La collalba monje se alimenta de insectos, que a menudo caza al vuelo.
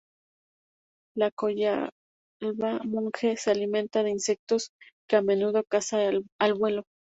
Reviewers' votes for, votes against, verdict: 0, 2, rejected